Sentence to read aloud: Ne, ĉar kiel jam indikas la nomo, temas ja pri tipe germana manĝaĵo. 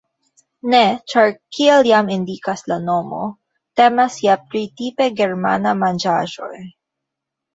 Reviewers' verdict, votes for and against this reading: rejected, 0, 2